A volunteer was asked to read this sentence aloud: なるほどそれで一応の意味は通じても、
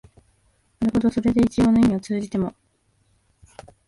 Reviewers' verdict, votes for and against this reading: accepted, 2, 1